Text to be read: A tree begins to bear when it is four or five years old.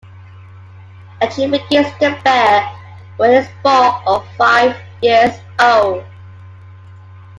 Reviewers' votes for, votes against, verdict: 1, 2, rejected